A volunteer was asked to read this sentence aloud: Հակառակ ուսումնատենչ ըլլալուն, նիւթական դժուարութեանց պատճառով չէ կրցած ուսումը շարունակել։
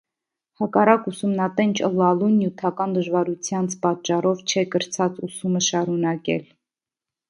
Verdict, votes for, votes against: accepted, 2, 0